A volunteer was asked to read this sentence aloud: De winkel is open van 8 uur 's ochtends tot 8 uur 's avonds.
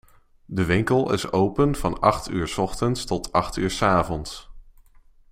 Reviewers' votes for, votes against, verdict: 0, 2, rejected